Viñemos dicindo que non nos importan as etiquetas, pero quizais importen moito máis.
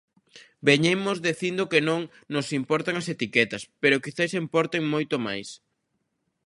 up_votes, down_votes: 0, 2